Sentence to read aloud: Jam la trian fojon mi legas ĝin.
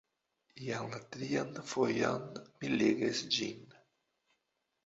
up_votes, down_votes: 0, 2